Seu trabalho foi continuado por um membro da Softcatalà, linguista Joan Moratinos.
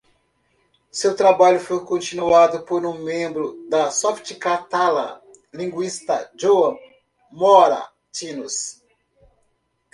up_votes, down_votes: 0, 2